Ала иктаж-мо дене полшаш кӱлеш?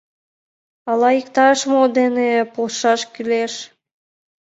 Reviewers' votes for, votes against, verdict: 2, 0, accepted